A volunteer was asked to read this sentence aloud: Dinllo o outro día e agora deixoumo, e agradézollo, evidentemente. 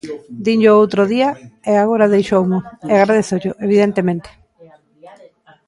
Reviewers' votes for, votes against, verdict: 1, 2, rejected